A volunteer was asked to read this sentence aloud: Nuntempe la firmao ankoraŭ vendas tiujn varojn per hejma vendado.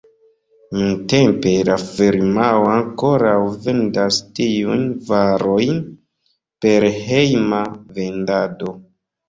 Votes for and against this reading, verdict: 1, 2, rejected